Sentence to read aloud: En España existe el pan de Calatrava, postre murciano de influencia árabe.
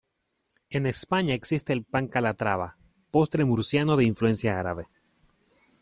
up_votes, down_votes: 1, 2